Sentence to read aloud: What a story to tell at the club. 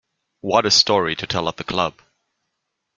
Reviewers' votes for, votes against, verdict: 2, 0, accepted